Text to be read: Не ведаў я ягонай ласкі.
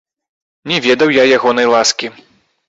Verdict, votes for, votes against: rejected, 2, 3